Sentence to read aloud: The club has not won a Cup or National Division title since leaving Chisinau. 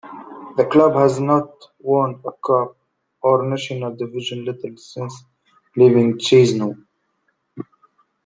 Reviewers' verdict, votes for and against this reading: rejected, 1, 2